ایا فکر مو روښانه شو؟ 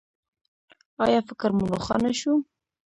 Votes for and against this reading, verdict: 0, 2, rejected